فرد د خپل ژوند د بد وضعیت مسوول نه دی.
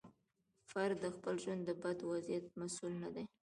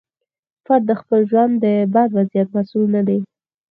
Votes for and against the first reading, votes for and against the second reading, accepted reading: 2, 1, 0, 4, first